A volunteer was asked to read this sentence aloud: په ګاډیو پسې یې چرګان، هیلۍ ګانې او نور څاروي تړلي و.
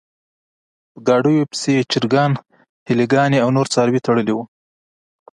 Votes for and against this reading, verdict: 1, 2, rejected